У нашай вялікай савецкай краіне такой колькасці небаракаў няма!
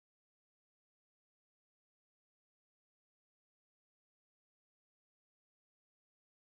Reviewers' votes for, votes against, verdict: 0, 2, rejected